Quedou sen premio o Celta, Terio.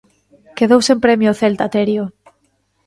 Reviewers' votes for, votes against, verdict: 2, 0, accepted